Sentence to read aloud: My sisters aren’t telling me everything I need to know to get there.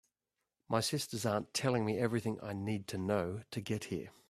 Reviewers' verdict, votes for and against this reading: rejected, 0, 2